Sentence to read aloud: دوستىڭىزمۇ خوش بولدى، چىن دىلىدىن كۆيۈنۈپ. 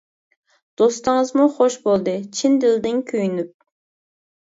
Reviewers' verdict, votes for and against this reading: accepted, 2, 0